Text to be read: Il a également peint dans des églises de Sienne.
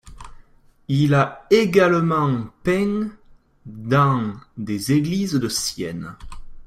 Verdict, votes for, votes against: accepted, 2, 0